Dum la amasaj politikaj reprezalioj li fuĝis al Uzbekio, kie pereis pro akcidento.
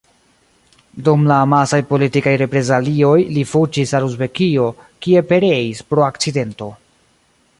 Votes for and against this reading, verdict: 2, 1, accepted